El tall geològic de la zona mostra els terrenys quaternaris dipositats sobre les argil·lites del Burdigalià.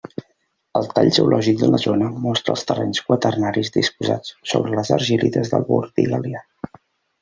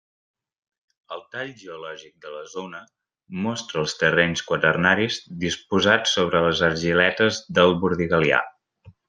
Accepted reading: first